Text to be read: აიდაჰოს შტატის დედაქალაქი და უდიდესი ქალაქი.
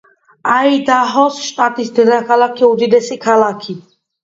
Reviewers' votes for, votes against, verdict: 2, 1, accepted